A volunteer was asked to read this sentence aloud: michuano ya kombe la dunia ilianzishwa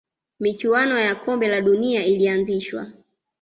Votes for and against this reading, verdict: 2, 0, accepted